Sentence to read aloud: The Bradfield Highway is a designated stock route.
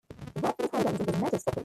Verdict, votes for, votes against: rejected, 0, 3